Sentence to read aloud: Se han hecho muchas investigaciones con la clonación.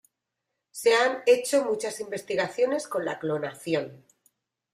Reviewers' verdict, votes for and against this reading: accepted, 2, 0